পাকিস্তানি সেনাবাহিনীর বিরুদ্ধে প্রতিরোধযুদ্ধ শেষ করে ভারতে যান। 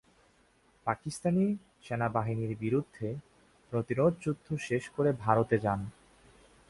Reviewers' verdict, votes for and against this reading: accepted, 2, 0